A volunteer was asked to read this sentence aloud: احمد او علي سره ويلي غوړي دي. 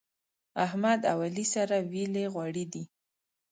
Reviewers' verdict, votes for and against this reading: rejected, 1, 2